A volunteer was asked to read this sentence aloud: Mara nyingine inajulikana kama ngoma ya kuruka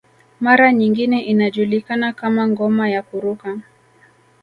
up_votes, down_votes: 2, 0